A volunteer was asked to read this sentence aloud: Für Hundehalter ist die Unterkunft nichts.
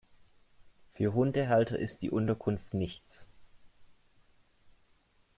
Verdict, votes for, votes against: accepted, 2, 0